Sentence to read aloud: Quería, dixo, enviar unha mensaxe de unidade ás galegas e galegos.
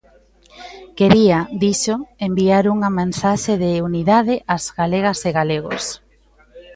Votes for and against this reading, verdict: 1, 2, rejected